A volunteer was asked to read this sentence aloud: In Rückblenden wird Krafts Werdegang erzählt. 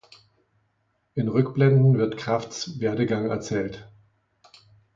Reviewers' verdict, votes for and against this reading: accepted, 2, 0